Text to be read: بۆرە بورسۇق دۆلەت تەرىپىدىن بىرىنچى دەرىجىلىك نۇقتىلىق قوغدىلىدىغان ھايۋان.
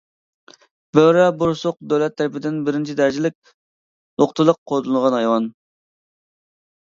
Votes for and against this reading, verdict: 1, 2, rejected